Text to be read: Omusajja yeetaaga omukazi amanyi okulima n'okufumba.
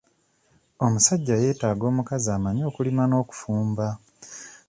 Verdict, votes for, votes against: accepted, 2, 0